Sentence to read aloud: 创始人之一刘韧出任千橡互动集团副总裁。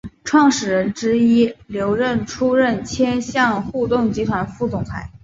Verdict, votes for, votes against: accepted, 2, 1